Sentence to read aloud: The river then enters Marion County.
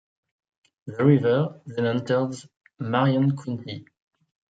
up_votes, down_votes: 2, 1